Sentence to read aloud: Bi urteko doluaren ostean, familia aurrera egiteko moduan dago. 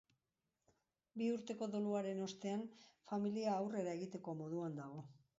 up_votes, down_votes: 2, 0